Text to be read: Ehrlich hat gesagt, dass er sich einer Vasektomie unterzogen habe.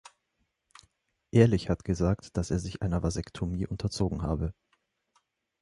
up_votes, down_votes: 2, 0